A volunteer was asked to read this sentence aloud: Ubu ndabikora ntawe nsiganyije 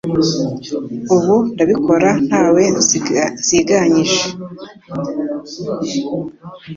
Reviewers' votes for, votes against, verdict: 0, 2, rejected